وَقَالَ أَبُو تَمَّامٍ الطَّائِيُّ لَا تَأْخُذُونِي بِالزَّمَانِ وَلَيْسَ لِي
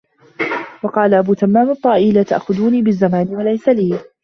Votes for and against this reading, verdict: 0, 2, rejected